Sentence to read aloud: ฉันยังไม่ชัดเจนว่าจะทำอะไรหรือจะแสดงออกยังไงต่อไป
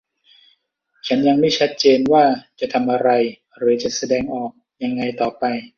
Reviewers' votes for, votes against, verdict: 2, 0, accepted